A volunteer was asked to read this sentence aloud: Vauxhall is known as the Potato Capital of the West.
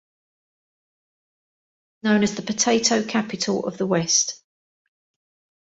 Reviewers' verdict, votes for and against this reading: rejected, 0, 2